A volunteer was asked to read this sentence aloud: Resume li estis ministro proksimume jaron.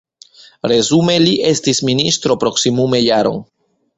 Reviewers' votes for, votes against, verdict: 0, 2, rejected